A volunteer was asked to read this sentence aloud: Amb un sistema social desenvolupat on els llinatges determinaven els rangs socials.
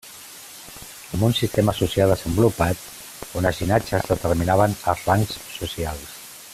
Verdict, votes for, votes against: accepted, 2, 1